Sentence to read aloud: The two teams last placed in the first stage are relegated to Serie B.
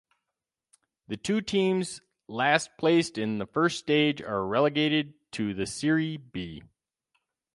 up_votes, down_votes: 0, 4